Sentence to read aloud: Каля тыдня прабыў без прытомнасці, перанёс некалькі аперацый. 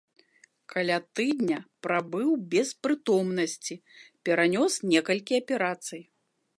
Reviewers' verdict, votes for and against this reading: accepted, 2, 0